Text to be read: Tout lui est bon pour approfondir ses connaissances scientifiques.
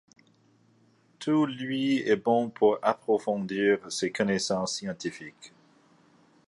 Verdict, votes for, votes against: accepted, 2, 0